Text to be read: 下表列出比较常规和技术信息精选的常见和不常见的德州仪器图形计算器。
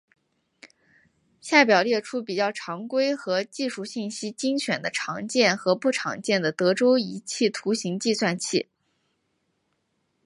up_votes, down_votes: 2, 0